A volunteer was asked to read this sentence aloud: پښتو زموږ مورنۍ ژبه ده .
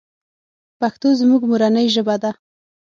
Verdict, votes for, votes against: accepted, 6, 0